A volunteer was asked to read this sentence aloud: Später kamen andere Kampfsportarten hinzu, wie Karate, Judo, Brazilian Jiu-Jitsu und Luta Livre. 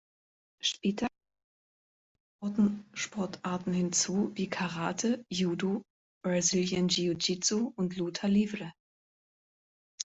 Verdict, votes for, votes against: rejected, 1, 2